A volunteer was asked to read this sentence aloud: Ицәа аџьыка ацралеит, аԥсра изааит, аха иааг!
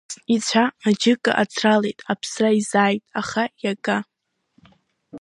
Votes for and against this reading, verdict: 0, 3, rejected